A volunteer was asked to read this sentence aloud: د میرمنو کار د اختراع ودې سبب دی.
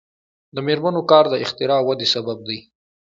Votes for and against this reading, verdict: 2, 0, accepted